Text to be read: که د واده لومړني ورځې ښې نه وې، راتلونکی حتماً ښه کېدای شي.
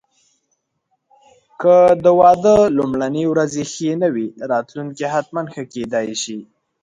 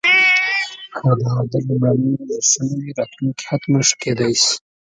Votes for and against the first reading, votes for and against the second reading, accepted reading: 2, 0, 0, 3, first